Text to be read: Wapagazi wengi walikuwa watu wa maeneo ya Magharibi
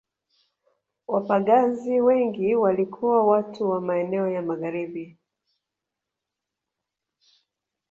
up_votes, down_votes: 2, 1